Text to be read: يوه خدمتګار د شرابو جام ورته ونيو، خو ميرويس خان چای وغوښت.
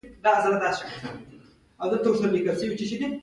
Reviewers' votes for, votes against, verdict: 1, 2, rejected